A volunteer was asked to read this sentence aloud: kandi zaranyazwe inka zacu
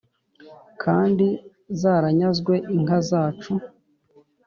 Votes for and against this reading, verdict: 2, 0, accepted